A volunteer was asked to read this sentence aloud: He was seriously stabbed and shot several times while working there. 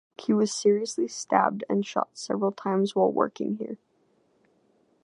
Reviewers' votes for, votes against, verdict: 1, 2, rejected